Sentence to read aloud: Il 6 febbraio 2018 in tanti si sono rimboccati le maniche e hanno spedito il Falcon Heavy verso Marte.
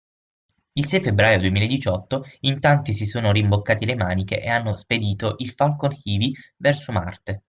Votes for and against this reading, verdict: 0, 2, rejected